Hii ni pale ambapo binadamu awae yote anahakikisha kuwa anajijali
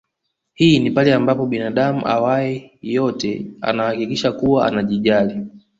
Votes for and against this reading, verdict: 2, 0, accepted